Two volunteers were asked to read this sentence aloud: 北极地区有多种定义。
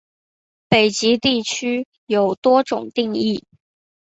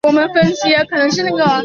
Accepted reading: first